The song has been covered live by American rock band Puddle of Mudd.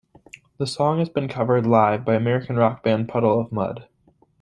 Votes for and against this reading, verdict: 2, 0, accepted